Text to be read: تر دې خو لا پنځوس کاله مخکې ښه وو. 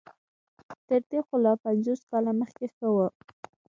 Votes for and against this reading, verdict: 1, 2, rejected